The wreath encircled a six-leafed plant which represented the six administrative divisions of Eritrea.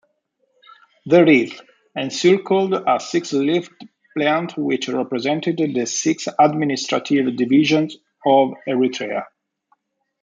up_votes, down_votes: 2, 0